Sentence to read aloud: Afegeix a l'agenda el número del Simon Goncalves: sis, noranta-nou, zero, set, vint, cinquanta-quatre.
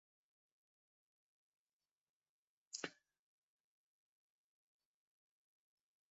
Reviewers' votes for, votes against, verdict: 0, 2, rejected